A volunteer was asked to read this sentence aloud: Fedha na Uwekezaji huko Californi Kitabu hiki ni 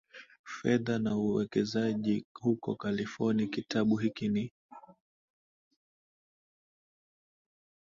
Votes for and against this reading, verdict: 0, 2, rejected